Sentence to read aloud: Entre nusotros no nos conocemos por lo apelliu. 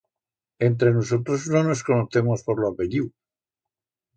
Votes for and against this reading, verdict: 2, 0, accepted